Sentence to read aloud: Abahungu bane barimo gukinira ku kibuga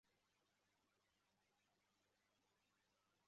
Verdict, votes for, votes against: rejected, 0, 2